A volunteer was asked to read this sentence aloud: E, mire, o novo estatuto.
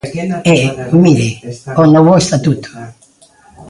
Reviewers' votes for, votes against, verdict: 1, 2, rejected